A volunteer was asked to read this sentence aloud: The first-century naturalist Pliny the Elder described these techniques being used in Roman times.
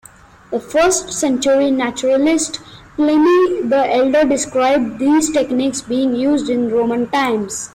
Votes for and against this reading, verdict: 2, 1, accepted